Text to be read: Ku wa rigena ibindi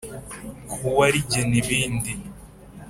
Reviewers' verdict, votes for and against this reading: accepted, 2, 0